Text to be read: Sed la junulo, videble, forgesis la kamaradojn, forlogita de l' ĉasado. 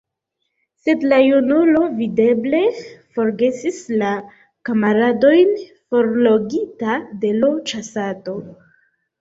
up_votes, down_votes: 1, 2